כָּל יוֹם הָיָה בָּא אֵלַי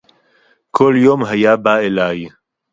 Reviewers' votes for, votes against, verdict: 4, 0, accepted